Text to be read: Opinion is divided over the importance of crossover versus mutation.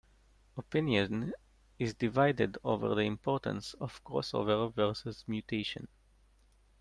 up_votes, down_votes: 2, 1